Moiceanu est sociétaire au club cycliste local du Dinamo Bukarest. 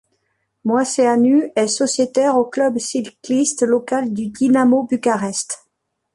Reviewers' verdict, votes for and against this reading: accepted, 2, 1